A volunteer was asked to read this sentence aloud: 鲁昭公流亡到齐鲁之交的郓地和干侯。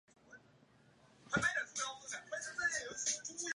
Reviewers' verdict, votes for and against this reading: rejected, 1, 3